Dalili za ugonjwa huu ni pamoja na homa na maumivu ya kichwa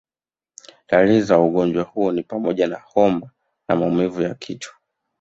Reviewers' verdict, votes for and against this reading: rejected, 1, 2